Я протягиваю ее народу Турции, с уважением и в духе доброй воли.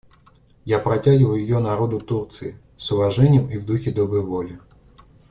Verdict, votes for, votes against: accepted, 2, 0